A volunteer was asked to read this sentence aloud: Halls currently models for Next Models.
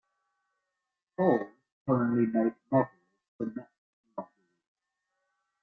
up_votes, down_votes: 0, 2